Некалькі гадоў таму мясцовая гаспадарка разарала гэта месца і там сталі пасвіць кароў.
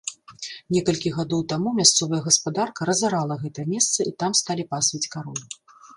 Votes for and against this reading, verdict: 2, 0, accepted